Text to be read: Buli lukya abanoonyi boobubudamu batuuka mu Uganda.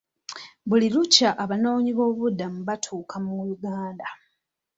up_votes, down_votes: 2, 0